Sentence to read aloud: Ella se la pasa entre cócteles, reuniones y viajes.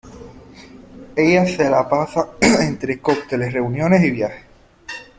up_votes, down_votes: 0, 2